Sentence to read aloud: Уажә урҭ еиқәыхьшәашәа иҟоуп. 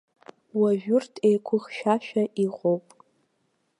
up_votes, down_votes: 2, 0